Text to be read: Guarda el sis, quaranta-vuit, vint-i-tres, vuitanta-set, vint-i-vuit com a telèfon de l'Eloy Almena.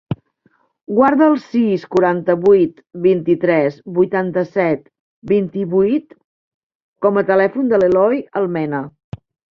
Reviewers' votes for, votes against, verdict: 3, 0, accepted